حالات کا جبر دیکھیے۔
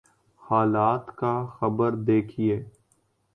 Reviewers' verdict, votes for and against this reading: rejected, 2, 4